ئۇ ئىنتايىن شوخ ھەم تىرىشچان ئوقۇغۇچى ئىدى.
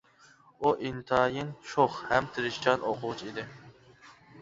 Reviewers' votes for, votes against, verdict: 2, 0, accepted